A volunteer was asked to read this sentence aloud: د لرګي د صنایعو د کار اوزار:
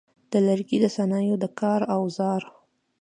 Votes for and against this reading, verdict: 2, 1, accepted